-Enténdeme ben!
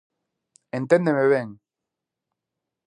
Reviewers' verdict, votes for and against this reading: accepted, 2, 0